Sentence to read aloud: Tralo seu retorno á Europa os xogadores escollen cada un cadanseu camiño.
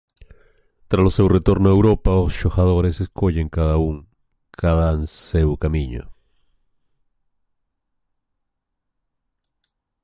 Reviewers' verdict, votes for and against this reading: rejected, 1, 2